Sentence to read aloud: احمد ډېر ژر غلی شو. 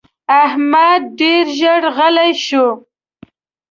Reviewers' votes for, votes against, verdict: 2, 0, accepted